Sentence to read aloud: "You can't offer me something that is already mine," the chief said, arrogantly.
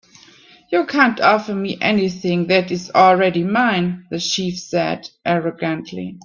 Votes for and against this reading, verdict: 2, 4, rejected